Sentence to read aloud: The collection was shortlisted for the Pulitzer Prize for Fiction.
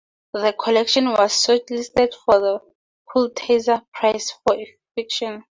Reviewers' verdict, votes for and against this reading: rejected, 0, 2